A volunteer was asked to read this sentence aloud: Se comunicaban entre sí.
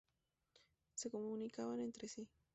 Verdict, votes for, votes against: rejected, 2, 2